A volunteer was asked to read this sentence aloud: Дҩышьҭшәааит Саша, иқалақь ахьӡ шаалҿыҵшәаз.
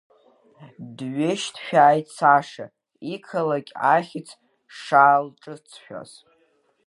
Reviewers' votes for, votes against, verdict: 2, 0, accepted